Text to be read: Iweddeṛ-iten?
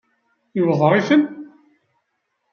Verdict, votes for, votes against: rejected, 1, 2